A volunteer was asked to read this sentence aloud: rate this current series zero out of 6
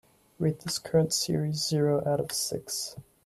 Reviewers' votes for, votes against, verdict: 0, 2, rejected